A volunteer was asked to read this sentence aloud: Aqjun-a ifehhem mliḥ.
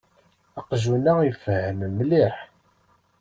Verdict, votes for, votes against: accepted, 2, 0